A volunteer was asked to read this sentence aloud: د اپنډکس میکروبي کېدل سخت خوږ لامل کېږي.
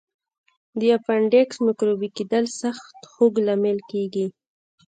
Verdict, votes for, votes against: rejected, 1, 2